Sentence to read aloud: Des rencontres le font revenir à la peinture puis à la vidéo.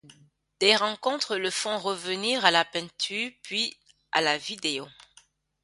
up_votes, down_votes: 1, 2